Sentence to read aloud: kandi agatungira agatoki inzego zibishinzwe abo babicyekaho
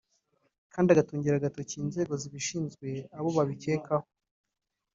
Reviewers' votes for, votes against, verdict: 1, 2, rejected